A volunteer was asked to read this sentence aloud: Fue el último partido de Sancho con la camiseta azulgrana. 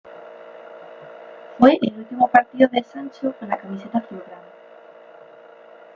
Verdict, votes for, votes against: rejected, 1, 2